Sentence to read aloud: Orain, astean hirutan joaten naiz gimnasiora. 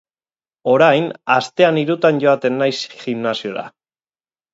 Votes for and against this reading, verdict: 4, 0, accepted